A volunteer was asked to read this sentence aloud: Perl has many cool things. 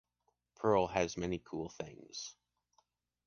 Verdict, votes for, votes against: accepted, 4, 0